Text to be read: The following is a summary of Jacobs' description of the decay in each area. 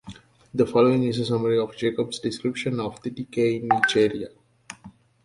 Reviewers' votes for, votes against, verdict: 2, 1, accepted